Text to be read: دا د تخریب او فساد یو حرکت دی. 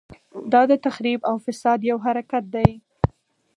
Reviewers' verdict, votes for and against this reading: accepted, 4, 0